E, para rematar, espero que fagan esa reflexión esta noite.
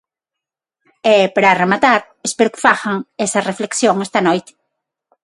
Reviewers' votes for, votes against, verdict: 3, 3, rejected